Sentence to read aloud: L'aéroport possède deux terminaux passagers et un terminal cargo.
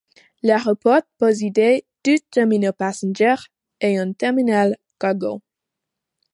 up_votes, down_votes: 1, 2